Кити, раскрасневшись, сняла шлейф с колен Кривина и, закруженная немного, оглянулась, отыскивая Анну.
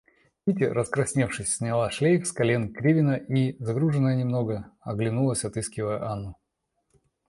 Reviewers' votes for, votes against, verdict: 2, 0, accepted